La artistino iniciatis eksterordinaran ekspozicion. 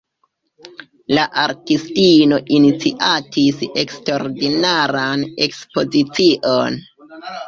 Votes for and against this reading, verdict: 2, 1, accepted